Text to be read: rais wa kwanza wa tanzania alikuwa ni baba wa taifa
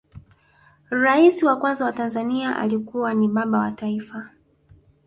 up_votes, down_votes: 2, 0